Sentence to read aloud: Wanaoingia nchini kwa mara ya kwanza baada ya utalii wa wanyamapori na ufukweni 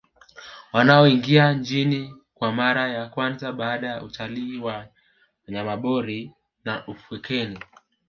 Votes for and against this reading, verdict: 1, 2, rejected